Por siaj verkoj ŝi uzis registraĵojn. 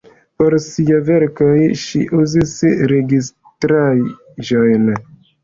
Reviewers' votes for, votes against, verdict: 2, 0, accepted